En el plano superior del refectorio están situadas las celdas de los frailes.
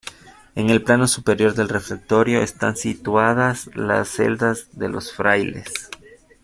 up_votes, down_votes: 2, 1